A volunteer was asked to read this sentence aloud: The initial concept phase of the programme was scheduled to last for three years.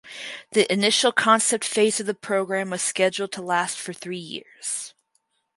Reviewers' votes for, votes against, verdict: 6, 0, accepted